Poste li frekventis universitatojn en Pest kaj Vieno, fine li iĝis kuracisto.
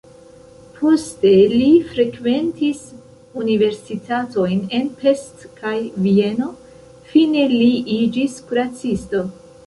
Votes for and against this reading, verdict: 1, 2, rejected